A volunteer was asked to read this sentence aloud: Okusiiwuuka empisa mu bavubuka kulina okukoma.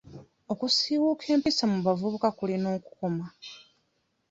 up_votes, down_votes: 1, 2